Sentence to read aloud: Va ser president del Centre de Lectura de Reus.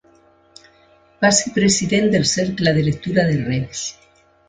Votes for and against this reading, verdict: 0, 2, rejected